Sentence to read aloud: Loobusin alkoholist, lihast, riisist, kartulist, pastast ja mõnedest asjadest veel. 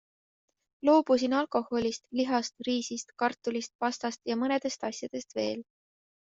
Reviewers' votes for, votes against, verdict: 2, 0, accepted